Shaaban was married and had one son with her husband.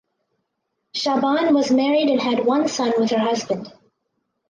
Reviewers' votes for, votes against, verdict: 4, 0, accepted